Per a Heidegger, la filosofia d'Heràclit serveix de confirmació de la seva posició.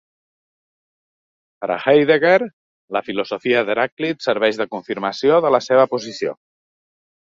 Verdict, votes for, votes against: accepted, 2, 0